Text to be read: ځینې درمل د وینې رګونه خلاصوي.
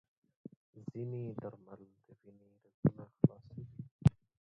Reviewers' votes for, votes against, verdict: 0, 2, rejected